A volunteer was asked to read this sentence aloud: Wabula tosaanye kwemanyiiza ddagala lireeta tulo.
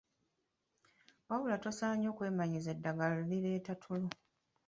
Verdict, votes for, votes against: rejected, 0, 2